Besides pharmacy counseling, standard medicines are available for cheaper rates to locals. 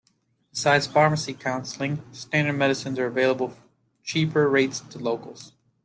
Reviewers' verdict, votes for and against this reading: accepted, 2, 1